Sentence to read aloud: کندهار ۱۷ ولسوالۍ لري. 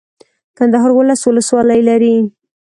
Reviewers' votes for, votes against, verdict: 0, 2, rejected